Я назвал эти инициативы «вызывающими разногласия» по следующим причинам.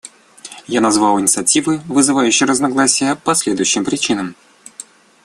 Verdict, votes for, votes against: rejected, 0, 2